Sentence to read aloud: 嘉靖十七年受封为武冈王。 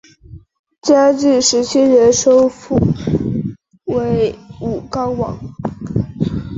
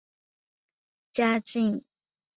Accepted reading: first